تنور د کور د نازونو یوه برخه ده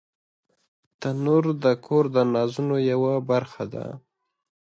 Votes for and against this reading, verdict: 2, 0, accepted